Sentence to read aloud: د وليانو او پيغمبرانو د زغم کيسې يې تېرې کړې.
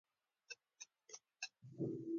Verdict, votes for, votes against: accepted, 2, 1